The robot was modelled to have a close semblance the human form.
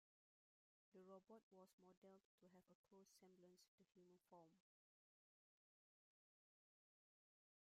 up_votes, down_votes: 0, 2